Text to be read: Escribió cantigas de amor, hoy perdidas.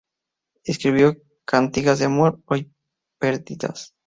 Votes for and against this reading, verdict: 2, 2, rejected